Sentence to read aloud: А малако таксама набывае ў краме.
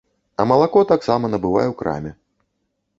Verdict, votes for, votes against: accepted, 2, 0